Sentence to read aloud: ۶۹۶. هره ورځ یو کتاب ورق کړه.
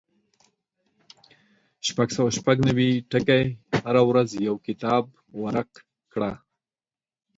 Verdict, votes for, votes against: rejected, 0, 2